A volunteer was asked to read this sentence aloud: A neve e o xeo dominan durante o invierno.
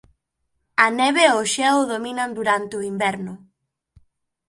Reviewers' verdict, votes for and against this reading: accepted, 2, 1